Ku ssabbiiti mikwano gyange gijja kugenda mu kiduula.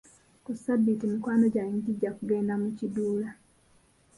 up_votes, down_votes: 2, 0